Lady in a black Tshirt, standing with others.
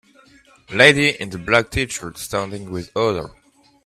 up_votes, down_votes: 1, 2